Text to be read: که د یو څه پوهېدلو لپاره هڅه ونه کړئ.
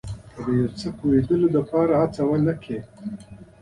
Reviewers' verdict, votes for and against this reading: accepted, 2, 0